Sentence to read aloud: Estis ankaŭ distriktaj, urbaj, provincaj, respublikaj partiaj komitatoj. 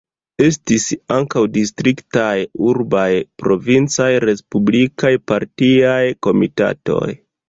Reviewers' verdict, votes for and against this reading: accepted, 2, 1